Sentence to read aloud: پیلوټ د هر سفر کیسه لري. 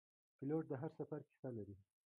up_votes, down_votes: 1, 2